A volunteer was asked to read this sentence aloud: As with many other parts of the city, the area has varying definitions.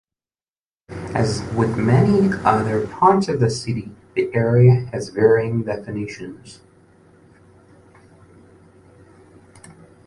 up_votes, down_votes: 2, 0